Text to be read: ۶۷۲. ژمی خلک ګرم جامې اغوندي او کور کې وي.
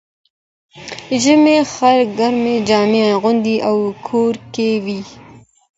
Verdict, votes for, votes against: rejected, 0, 2